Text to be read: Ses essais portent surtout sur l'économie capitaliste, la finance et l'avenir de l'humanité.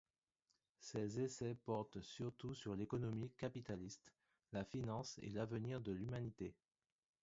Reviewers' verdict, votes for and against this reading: rejected, 1, 2